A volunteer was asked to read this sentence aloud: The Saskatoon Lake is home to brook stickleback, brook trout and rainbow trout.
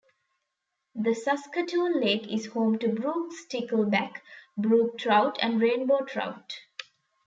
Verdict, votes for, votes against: accepted, 2, 0